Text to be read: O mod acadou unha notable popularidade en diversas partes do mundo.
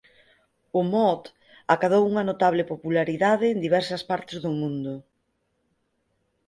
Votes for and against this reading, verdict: 4, 0, accepted